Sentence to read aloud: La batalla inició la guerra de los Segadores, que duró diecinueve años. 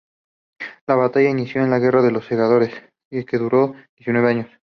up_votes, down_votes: 0, 2